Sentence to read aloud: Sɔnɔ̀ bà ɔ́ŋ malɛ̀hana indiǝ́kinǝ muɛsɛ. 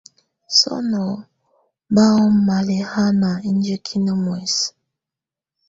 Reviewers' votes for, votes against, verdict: 2, 0, accepted